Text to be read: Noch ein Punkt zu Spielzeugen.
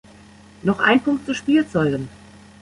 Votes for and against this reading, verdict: 1, 2, rejected